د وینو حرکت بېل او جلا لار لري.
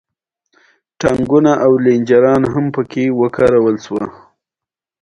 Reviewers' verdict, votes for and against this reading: rejected, 1, 2